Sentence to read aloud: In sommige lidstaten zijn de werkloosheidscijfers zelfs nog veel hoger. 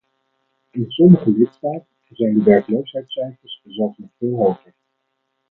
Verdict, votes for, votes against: accepted, 4, 0